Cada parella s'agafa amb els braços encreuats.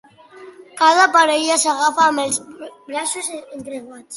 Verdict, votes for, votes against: rejected, 1, 2